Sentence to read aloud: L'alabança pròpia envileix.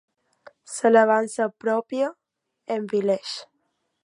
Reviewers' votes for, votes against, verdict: 0, 2, rejected